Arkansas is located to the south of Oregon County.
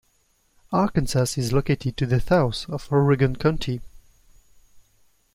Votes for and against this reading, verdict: 1, 2, rejected